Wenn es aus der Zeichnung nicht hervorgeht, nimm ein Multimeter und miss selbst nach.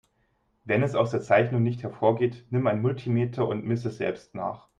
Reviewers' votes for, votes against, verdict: 0, 2, rejected